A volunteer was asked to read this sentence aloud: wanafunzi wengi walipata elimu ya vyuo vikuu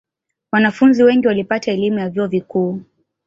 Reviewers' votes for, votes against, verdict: 2, 0, accepted